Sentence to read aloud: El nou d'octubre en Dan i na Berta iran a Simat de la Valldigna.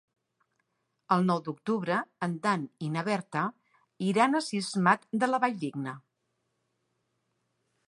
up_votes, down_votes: 1, 2